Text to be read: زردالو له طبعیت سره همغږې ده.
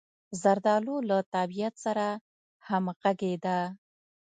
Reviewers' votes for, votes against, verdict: 3, 0, accepted